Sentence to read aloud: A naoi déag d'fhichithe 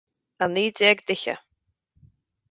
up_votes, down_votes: 4, 0